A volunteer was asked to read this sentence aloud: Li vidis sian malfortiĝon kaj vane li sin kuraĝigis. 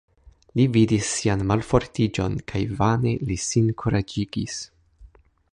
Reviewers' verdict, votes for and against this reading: rejected, 1, 2